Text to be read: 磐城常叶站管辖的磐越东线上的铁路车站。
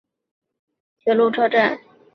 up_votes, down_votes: 2, 5